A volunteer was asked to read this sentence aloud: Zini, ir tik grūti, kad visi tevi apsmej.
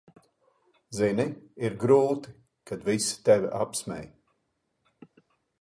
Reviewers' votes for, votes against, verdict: 0, 3, rejected